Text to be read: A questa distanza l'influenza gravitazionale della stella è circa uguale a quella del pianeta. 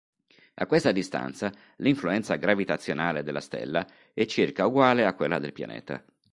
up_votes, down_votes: 3, 0